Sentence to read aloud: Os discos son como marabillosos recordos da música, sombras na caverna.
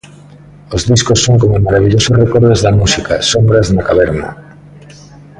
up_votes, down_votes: 1, 2